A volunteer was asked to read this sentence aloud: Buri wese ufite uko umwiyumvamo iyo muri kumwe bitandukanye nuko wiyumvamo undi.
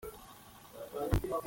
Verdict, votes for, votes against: rejected, 0, 2